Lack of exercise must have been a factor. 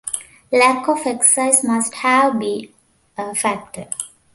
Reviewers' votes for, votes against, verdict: 1, 2, rejected